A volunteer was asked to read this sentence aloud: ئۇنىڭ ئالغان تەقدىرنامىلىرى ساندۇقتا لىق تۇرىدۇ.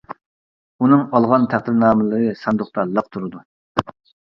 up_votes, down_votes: 2, 0